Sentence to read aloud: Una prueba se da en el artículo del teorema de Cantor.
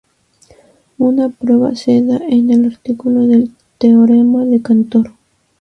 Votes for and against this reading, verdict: 0, 2, rejected